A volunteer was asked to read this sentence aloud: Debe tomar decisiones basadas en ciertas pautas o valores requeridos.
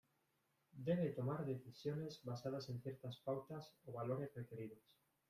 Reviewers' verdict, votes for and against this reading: accepted, 2, 1